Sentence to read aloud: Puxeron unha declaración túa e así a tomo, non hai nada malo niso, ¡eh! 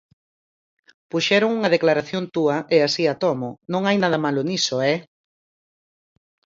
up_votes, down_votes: 4, 0